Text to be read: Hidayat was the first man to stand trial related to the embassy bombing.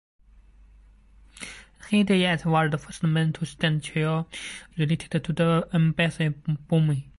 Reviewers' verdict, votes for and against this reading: rejected, 1, 2